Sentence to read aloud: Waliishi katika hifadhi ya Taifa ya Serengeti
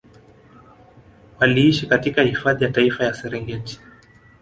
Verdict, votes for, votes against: accepted, 2, 1